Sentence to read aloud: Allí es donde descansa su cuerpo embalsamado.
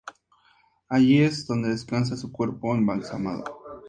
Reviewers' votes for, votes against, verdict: 2, 0, accepted